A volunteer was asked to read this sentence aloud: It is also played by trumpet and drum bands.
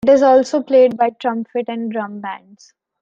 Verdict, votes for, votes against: rejected, 1, 2